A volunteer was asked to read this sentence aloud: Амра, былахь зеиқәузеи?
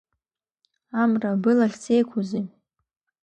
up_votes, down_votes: 2, 1